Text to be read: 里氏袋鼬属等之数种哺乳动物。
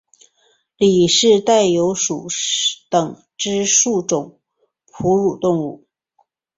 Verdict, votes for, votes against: accepted, 3, 0